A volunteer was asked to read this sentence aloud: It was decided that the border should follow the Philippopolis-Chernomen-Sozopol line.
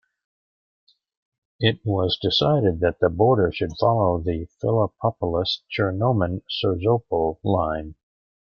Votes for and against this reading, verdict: 1, 2, rejected